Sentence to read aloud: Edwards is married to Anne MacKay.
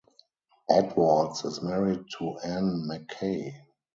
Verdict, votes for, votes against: rejected, 0, 4